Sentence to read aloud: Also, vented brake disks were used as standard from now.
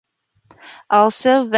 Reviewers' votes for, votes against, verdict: 0, 2, rejected